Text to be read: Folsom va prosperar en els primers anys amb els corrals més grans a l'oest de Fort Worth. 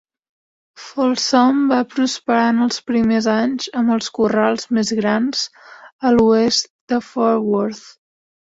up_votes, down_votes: 2, 0